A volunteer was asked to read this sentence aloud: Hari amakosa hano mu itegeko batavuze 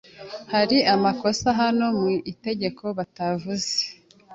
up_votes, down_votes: 2, 0